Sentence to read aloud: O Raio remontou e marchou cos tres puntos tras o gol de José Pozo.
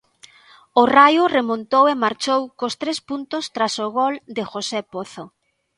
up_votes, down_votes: 2, 0